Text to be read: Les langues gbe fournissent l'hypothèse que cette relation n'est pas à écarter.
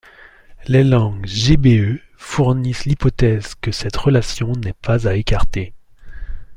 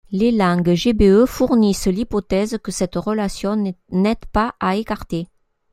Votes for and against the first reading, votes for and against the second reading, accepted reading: 2, 0, 0, 2, first